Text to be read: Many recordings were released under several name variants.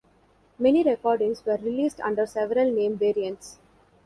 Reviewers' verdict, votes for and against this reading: accepted, 2, 0